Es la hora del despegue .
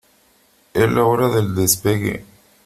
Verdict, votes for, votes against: accepted, 2, 0